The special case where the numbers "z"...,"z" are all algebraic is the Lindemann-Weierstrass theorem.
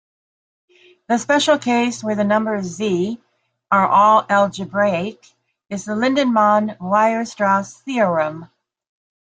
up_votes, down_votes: 0, 2